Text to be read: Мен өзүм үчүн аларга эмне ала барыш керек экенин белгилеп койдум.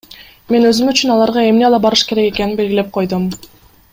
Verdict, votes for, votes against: accepted, 2, 0